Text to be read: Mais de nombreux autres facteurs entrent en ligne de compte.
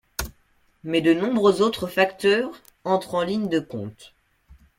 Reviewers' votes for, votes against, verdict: 2, 0, accepted